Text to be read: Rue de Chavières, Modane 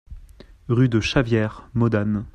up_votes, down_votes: 2, 0